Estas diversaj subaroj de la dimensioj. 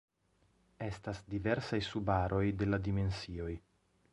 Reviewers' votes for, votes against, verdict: 2, 0, accepted